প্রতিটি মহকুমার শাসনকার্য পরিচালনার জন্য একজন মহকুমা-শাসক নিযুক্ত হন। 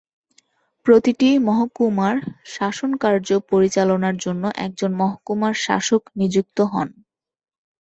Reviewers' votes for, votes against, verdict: 3, 0, accepted